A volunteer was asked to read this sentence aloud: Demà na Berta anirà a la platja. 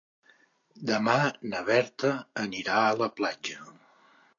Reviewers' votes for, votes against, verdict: 3, 0, accepted